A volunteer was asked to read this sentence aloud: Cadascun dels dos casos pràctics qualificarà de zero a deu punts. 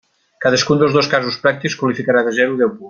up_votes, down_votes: 0, 2